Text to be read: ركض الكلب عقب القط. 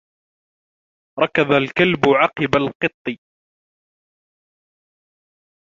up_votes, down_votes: 0, 2